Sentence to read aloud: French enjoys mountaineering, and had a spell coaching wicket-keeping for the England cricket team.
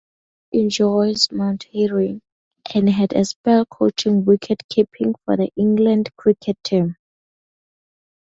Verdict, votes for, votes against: rejected, 0, 2